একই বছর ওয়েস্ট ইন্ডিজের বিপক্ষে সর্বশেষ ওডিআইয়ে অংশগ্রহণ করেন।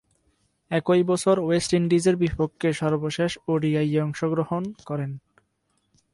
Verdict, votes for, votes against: accepted, 6, 2